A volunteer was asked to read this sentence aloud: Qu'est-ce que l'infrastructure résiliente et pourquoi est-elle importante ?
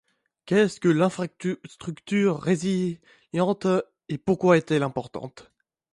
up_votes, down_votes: 0, 2